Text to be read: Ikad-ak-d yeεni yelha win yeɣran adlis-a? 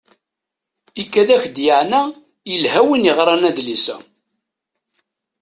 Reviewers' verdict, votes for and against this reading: rejected, 0, 2